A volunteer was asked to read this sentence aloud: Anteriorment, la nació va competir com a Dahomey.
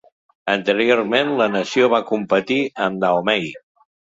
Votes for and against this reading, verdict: 1, 2, rejected